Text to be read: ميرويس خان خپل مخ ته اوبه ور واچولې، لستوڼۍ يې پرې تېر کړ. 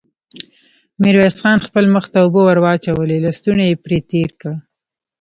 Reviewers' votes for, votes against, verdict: 1, 2, rejected